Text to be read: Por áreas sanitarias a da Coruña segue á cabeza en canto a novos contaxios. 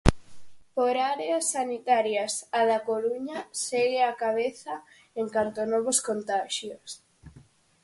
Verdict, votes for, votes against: accepted, 4, 0